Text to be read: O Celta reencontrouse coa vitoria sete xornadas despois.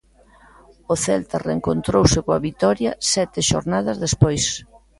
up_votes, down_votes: 1, 2